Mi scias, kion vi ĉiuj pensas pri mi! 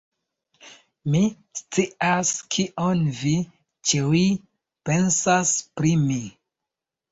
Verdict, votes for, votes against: rejected, 1, 2